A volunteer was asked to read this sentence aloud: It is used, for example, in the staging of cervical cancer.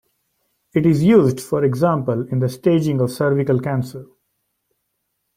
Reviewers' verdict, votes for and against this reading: accepted, 2, 0